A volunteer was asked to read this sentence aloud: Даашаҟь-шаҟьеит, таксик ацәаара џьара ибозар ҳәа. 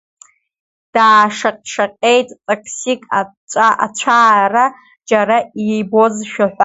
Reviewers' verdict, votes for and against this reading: rejected, 1, 2